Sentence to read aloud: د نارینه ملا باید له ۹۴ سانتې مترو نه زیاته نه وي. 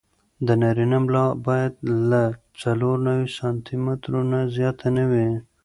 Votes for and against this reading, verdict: 0, 2, rejected